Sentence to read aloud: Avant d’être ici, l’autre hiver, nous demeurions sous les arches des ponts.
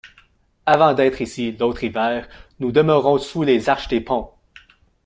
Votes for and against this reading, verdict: 0, 2, rejected